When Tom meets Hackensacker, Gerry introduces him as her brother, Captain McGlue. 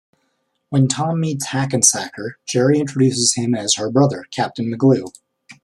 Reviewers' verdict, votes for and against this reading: accepted, 2, 0